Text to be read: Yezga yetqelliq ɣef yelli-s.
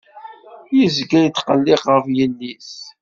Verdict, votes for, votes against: rejected, 1, 2